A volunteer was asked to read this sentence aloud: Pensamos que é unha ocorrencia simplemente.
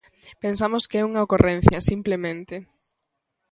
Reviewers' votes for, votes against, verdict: 2, 0, accepted